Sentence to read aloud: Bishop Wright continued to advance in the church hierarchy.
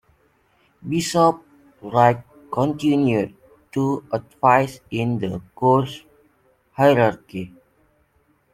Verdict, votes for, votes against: rejected, 0, 2